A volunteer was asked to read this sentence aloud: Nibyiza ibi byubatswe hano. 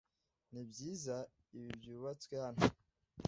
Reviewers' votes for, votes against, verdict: 2, 0, accepted